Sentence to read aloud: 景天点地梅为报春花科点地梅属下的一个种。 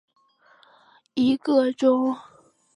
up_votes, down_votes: 0, 2